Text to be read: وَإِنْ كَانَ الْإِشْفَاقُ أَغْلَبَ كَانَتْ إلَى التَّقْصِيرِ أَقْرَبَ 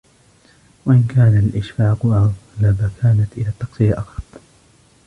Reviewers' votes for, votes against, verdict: 0, 2, rejected